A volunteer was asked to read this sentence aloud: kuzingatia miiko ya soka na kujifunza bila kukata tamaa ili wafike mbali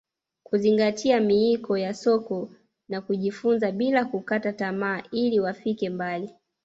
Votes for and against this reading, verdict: 0, 2, rejected